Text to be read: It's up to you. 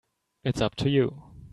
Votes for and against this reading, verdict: 2, 0, accepted